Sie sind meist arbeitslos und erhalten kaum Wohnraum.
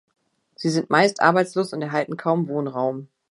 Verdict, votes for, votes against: accepted, 2, 0